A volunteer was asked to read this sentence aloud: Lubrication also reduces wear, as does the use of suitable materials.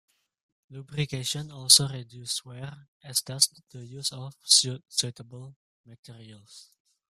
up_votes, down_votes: 0, 2